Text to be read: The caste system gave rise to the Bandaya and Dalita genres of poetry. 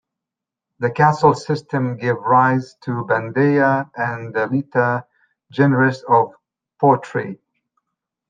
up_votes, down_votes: 0, 2